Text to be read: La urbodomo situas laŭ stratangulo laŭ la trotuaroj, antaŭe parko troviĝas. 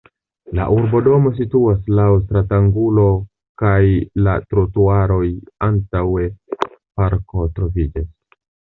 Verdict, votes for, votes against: accepted, 2, 1